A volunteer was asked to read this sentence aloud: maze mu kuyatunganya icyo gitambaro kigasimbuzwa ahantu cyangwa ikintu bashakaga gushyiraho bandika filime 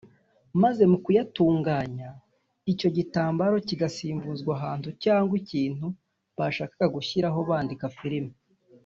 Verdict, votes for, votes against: rejected, 0, 2